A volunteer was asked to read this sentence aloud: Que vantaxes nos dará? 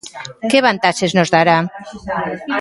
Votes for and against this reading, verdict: 2, 0, accepted